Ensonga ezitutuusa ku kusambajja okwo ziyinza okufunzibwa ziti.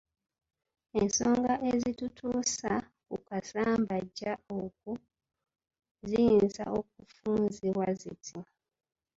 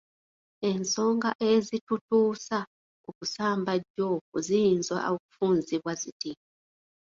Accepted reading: second